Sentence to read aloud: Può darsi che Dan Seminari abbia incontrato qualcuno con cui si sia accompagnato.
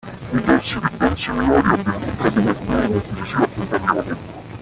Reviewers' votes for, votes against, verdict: 0, 2, rejected